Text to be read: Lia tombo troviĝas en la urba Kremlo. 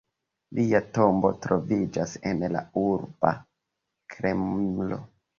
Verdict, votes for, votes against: accepted, 2, 1